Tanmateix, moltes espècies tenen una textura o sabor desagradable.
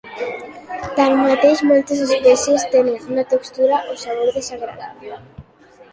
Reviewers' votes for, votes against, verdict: 2, 0, accepted